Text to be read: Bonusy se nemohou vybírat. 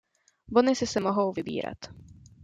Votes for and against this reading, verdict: 1, 2, rejected